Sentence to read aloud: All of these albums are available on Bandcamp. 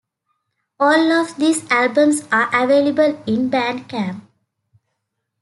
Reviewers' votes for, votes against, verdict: 1, 2, rejected